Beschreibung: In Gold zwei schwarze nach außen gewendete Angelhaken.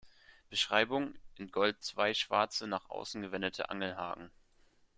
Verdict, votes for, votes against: accepted, 2, 0